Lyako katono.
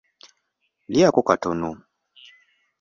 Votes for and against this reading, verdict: 2, 0, accepted